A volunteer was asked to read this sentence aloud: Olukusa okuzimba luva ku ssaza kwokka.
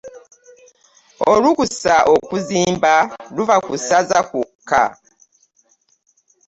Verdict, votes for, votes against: accepted, 2, 0